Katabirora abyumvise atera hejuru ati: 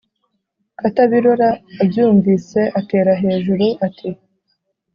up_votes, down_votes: 2, 0